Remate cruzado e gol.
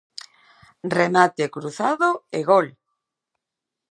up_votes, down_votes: 2, 0